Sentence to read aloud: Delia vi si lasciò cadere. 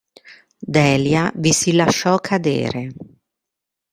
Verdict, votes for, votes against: rejected, 1, 2